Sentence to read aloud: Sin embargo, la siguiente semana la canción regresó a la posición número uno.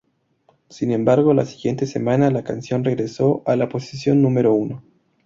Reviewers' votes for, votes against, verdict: 4, 0, accepted